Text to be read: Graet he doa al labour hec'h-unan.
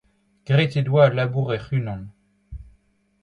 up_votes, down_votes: 2, 0